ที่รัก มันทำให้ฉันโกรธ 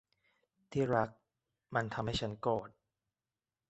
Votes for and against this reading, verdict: 2, 1, accepted